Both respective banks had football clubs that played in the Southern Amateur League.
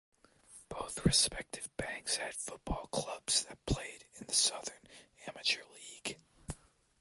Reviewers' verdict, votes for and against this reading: rejected, 0, 2